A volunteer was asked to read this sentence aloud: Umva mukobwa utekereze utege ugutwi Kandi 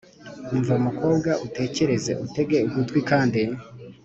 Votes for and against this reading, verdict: 3, 0, accepted